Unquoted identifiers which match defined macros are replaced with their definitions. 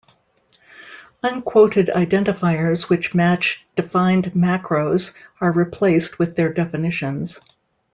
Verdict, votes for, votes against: accepted, 2, 0